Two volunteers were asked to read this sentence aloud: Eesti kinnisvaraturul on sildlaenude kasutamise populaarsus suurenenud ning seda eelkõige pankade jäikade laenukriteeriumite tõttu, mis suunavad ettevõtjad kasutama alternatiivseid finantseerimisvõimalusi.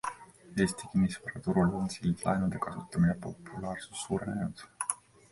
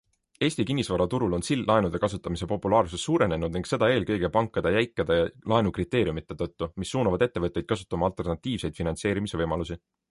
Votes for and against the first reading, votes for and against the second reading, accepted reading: 0, 2, 2, 0, second